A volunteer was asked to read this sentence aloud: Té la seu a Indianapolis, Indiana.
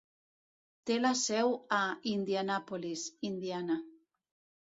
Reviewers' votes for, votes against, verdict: 3, 0, accepted